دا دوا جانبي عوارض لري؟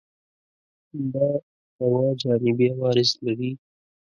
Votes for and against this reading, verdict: 1, 2, rejected